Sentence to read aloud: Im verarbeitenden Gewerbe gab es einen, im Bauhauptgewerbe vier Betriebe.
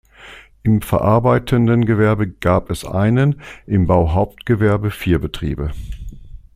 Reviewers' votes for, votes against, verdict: 2, 0, accepted